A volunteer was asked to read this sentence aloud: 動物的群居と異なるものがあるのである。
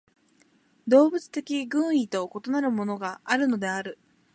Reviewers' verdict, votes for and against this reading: rejected, 1, 2